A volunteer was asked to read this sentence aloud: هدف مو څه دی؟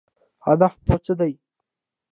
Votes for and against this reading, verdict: 0, 2, rejected